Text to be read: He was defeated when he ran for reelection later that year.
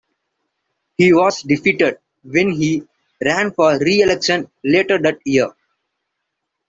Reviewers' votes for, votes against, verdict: 2, 0, accepted